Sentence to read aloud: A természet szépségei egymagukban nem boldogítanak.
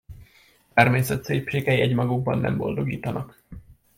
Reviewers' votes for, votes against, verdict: 0, 2, rejected